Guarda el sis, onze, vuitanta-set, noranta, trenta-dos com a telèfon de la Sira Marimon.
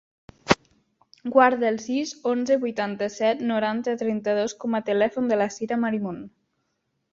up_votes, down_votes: 1, 2